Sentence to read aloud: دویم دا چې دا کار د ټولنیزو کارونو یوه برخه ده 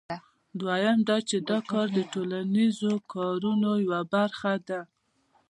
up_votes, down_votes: 2, 0